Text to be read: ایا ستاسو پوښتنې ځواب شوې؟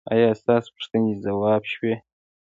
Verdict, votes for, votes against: accepted, 2, 0